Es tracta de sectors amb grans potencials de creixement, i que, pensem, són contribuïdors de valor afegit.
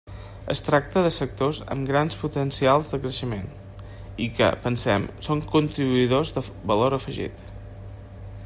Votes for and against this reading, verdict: 3, 0, accepted